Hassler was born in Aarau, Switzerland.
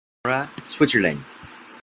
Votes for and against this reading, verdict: 0, 2, rejected